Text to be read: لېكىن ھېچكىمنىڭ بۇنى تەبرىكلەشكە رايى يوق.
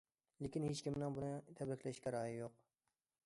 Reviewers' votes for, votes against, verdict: 2, 0, accepted